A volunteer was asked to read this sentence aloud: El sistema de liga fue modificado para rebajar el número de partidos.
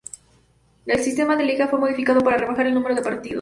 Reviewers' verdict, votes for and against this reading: rejected, 0, 2